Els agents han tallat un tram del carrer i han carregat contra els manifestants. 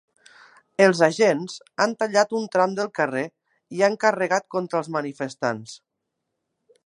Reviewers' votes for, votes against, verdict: 2, 0, accepted